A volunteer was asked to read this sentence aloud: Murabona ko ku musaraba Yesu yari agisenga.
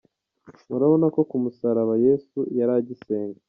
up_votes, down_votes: 1, 2